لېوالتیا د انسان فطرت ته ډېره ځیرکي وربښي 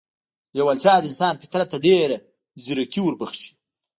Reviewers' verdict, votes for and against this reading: rejected, 1, 2